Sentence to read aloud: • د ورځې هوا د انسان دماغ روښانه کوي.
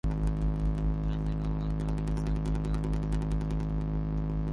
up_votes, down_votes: 0, 4